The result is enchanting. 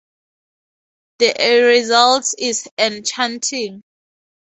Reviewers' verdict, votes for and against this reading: rejected, 0, 2